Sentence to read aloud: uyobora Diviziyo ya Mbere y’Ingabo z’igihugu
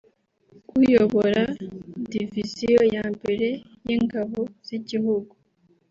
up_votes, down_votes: 2, 0